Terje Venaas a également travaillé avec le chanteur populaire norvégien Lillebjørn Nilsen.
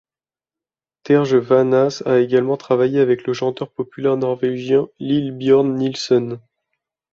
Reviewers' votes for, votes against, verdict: 1, 2, rejected